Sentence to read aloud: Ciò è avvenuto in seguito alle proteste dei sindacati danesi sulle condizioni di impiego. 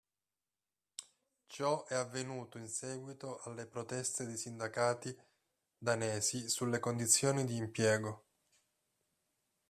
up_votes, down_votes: 1, 2